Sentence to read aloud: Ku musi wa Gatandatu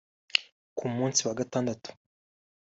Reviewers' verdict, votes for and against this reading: rejected, 0, 2